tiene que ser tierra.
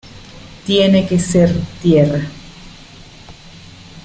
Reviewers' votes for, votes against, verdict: 2, 0, accepted